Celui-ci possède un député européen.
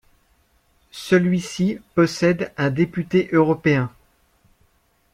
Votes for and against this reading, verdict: 2, 1, accepted